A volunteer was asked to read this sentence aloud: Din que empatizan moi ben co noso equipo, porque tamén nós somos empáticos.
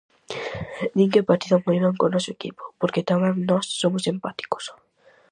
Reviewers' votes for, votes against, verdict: 4, 0, accepted